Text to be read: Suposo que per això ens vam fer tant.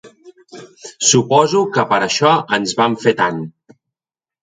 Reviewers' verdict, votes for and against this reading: accepted, 3, 0